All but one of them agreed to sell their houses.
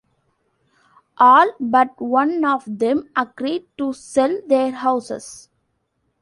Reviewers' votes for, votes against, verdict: 2, 0, accepted